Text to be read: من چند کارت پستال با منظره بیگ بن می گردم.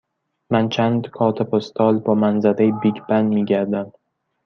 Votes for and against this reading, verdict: 1, 2, rejected